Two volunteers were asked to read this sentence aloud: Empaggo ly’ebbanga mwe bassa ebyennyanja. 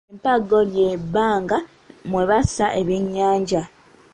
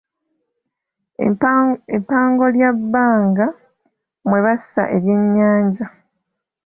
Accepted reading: first